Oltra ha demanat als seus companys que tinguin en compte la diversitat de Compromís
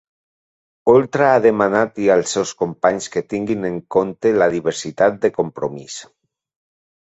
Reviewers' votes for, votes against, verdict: 1, 2, rejected